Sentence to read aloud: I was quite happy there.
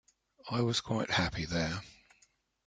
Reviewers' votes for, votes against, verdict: 3, 0, accepted